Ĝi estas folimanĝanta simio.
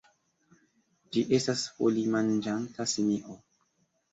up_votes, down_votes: 2, 0